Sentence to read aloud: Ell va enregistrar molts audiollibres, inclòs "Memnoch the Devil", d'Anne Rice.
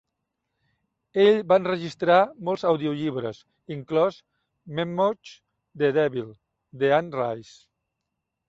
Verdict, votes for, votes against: rejected, 1, 2